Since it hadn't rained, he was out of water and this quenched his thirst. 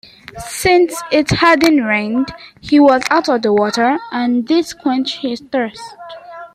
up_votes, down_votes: 2, 0